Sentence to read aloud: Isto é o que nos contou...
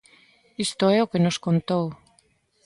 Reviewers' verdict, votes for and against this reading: accepted, 2, 0